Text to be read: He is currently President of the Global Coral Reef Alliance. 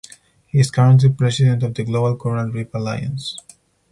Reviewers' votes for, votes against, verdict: 4, 0, accepted